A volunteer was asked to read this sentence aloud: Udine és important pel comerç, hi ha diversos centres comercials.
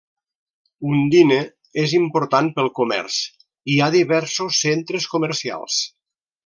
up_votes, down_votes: 1, 2